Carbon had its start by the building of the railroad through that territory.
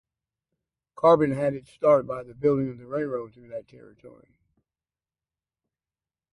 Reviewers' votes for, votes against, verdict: 2, 2, rejected